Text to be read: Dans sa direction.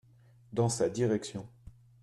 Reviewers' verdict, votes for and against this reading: accepted, 2, 0